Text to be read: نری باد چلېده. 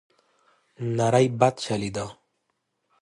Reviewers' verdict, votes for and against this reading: accepted, 2, 0